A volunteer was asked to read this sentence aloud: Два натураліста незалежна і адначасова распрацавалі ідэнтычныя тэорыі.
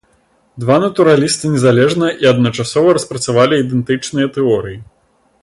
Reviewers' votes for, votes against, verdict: 2, 0, accepted